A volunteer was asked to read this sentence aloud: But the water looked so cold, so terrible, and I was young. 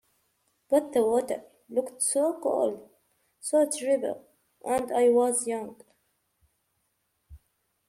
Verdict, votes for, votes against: rejected, 0, 2